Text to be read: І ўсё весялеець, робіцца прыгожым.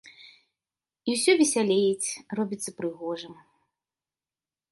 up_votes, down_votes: 2, 0